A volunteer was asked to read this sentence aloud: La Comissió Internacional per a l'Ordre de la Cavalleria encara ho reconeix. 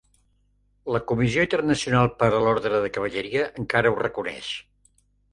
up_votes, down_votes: 0, 2